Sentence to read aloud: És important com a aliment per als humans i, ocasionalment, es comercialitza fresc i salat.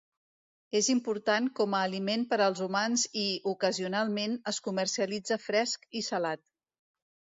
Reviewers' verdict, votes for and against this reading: accepted, 2, 0